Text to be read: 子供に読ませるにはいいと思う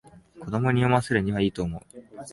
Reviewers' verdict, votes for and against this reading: accepted, 7, 0